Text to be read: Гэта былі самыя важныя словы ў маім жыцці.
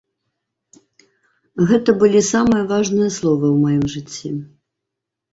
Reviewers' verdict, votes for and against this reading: accepted, 2, 0